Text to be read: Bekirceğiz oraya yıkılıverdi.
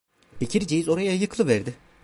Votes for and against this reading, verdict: 0, 2, rejected